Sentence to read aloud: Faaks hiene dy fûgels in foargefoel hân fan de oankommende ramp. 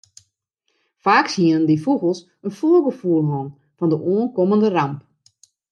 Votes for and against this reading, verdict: 2, 0, accepted